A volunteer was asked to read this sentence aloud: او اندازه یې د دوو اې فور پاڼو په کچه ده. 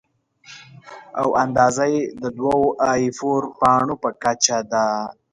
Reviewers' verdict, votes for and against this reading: accepted, 2, 1